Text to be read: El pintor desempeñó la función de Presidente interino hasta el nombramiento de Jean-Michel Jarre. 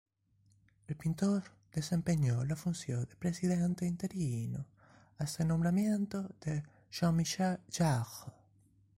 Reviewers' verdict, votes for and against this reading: accepted, 2, 0